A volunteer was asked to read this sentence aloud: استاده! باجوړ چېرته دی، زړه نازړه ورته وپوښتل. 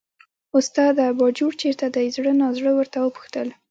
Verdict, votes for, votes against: accepted, 2, 0